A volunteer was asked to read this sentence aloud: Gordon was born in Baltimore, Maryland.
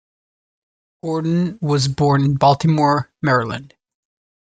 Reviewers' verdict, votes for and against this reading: accepted, 6, 1